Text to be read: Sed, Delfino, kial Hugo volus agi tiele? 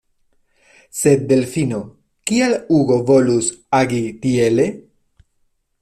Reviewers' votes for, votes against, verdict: 2, 1, accepted